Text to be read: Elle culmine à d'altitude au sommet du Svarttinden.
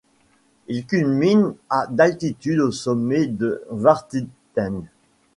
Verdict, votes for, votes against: rejected, 0, 2